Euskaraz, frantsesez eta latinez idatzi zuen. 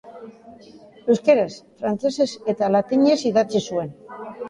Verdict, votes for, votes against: accepted, 3, 0